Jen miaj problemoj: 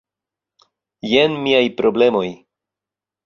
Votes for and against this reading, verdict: 2, 0, accepted